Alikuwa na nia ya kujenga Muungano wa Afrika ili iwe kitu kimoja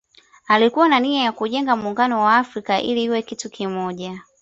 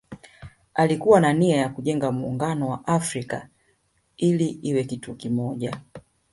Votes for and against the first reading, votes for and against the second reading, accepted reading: 1, 2, 2, 1, second